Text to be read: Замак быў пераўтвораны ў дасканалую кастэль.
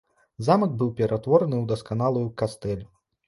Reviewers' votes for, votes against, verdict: 2, 1, accepted